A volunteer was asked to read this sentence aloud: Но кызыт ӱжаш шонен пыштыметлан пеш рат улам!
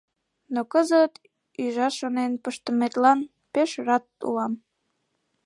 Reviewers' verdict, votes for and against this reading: rejected, 2, 3